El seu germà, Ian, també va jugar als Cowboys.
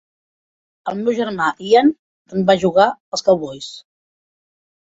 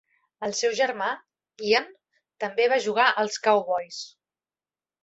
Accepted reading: second